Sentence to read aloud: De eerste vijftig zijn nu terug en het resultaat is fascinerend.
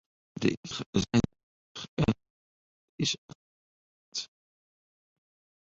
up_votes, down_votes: 0, 2